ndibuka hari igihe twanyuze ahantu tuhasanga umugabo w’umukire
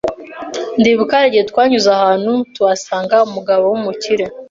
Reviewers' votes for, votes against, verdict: 0, 2, rejected